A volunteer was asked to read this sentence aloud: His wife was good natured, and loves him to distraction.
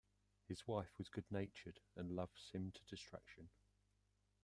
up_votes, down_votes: 1, 2